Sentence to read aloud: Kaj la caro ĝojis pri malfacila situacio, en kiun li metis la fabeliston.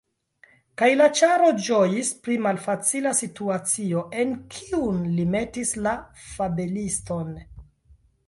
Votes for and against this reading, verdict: 1, 3, rejected